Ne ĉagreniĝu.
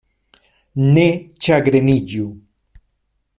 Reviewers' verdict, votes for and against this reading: accepted, 2, 0